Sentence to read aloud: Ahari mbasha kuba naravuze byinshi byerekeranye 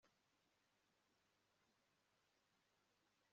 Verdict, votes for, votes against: rejected, 1, 2